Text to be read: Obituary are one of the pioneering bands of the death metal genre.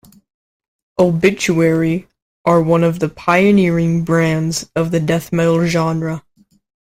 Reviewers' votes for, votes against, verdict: 1, 2, rejected